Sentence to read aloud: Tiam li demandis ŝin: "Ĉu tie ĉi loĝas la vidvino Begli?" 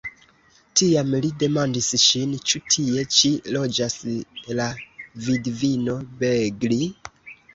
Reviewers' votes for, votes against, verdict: 2, 1, accepted